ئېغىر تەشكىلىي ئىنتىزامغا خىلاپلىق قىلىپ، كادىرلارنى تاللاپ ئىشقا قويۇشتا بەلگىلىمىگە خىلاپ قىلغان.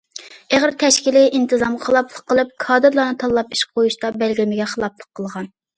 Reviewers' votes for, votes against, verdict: 0, 2, rejected